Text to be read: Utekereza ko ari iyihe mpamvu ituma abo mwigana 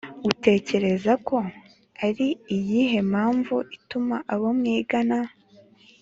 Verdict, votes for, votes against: accepted, 3, 0